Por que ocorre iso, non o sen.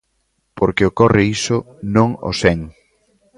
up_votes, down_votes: 1, 2